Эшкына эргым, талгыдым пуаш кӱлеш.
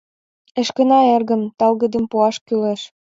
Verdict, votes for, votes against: accepted, 2, 0